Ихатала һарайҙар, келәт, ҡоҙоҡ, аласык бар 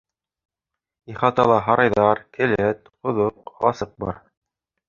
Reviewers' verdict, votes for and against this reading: rejected, 1, 2